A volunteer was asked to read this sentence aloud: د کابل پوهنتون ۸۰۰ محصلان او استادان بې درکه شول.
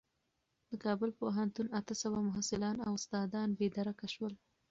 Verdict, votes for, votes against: rejected, 0, 2